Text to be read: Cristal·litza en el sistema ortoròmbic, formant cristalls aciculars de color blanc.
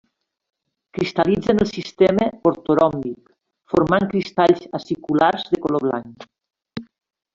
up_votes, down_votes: 2, 0